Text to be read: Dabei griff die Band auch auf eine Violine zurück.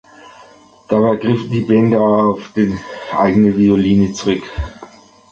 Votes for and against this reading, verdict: 1, 2, rejected